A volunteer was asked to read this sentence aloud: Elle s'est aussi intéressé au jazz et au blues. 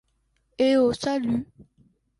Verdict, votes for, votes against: rejected, 0, 2